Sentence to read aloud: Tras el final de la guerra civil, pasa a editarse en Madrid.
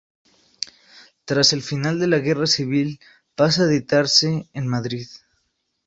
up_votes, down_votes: 6, 0